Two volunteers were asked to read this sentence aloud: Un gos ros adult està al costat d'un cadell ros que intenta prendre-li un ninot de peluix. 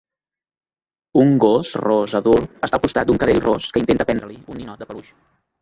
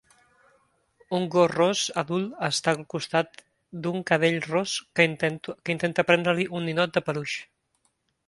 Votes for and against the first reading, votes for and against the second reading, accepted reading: 2, 0, 0, 2, first